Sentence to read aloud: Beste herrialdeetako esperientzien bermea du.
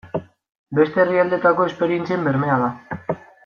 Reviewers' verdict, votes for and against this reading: rejected, 1, 2